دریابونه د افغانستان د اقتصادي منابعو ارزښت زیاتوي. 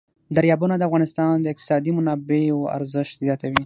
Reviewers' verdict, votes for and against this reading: rejected, 3, 6